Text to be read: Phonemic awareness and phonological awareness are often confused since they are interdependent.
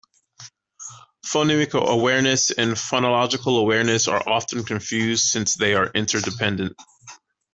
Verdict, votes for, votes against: accepted, 2, 0